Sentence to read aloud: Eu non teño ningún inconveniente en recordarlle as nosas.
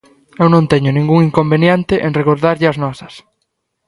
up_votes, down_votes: 2, 0